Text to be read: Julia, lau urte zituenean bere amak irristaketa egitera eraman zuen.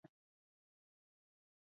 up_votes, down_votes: 2, 8